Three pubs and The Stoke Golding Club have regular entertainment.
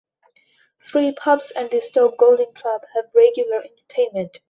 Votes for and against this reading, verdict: 2, 1, accepted